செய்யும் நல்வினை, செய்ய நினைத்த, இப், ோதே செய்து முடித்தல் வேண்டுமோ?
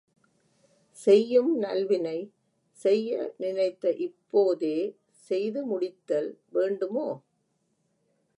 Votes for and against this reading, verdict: 0, 2, rejected